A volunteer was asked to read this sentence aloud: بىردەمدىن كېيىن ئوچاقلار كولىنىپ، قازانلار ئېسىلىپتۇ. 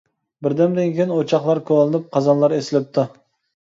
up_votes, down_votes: 2, 0